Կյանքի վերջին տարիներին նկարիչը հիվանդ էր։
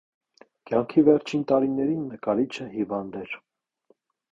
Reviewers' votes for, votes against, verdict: 2, 0, accepted